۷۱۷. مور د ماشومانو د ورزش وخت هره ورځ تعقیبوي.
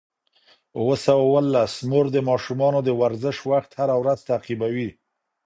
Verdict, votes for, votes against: rejected, 0, 2